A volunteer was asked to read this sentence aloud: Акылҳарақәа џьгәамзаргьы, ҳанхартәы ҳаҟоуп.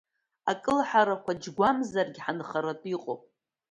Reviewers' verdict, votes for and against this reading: rejected, 1, 2